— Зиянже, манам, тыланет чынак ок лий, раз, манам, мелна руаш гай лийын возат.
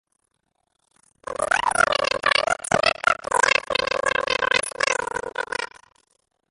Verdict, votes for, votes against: rejected, 0, 2